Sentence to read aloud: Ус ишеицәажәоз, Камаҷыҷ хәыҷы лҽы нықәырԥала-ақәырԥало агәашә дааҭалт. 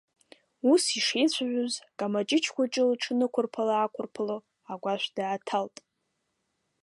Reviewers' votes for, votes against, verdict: 1, 2, rejected